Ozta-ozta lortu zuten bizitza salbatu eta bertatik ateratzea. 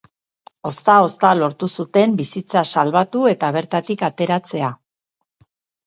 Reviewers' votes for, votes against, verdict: 0, 2, rejected